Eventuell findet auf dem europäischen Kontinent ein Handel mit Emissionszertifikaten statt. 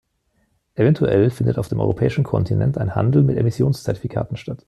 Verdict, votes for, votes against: rejected, 0, 2